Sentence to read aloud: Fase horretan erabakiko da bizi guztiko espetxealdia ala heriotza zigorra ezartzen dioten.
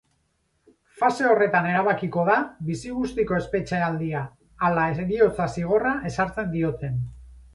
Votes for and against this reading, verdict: 0, 2, rejected